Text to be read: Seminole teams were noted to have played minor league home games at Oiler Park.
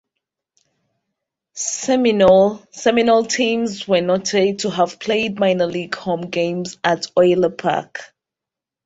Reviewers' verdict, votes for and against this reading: rejected, 0, 2